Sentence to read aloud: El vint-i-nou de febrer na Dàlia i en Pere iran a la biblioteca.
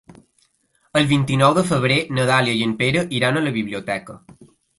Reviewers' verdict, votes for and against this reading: accepted, 2, 0